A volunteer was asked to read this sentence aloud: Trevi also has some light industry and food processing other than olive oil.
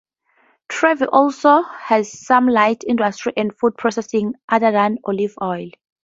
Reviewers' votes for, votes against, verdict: 2, 0, accepted